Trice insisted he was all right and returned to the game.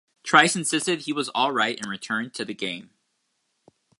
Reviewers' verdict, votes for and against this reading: accepted, 2, 0